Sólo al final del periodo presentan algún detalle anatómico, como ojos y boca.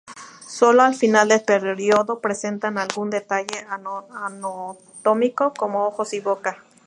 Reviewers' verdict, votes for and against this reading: rejected, 0, 2